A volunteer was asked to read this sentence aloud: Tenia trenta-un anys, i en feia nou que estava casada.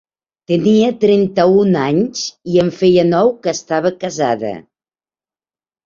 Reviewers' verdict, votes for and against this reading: accepted, 4, 0